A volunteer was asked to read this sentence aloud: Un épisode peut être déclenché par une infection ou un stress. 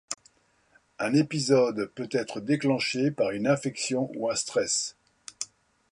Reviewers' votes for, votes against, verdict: 2, 0, accepted